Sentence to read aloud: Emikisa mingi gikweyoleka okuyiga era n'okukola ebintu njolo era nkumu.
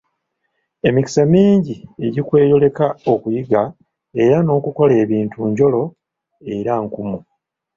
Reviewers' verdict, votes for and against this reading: rejected, 1, 2